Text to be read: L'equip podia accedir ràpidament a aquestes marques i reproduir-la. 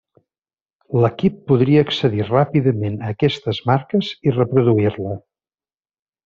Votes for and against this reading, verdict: 0, 2, rejected